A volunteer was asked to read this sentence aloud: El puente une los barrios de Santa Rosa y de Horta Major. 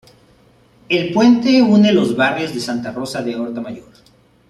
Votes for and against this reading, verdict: 0, 2, rejected